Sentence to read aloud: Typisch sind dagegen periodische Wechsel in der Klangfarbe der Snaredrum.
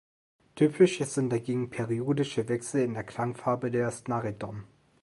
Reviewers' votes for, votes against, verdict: 0, 2, rejected